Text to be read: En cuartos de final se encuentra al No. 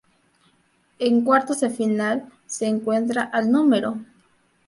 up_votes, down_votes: 2, 0